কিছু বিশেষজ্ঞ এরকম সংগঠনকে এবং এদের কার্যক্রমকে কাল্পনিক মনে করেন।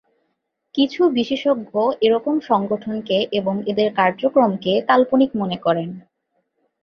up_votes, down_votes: 4, 0